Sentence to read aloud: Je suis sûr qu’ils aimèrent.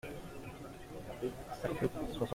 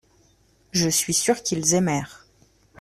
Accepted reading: second